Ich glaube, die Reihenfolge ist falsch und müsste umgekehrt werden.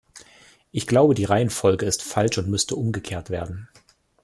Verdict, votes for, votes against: accepted, 2, 0